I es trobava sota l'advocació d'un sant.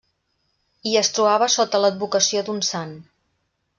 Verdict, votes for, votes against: rejected, 1, 2